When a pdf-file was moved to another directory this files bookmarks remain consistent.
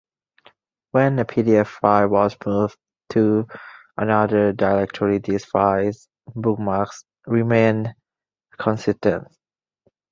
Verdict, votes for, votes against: rejected, 0, 2